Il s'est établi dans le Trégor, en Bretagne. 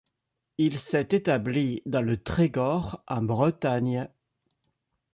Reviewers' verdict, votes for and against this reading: accepted, 2, 0